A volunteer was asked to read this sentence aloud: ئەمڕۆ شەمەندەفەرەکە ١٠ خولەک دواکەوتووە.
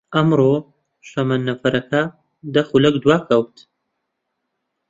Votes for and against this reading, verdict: 0, 2, rejected